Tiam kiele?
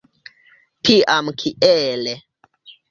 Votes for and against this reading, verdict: 2, 0, accepted